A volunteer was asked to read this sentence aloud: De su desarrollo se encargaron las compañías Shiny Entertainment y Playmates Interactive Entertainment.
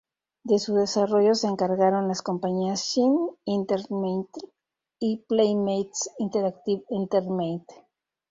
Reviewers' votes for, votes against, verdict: 0, 2, rejected